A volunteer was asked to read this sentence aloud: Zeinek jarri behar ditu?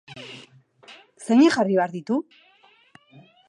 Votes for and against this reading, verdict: 2, 2, rejected